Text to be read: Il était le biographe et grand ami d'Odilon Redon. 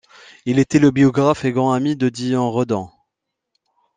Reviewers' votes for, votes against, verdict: 1, 2, rejected